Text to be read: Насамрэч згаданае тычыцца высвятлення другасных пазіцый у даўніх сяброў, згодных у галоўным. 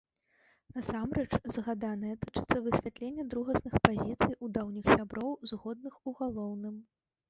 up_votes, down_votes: 1, 2